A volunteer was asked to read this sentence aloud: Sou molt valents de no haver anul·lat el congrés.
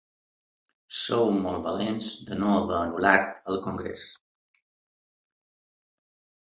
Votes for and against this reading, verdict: 2, 1, accepted